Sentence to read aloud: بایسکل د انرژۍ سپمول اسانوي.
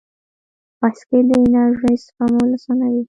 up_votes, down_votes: 1, 2